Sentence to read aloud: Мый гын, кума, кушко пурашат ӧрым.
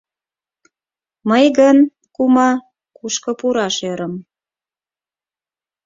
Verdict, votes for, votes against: rejected, 4, 8